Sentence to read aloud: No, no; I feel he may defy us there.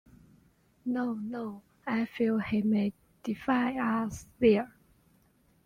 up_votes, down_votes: 2, 0